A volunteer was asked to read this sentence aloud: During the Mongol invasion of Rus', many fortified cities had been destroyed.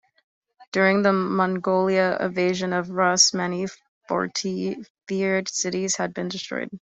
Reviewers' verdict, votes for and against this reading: rejected, 0, 2